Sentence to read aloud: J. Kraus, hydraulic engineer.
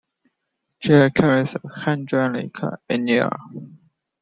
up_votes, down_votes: 1, 2